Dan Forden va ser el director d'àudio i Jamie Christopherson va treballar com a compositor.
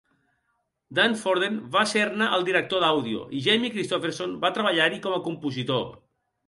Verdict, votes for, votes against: rejected, 0, 2